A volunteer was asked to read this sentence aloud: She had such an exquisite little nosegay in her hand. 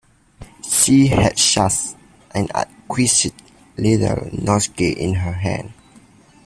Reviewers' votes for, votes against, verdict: 0, 2, rejected